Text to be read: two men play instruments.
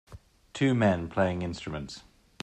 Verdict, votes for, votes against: rejected, 0, 2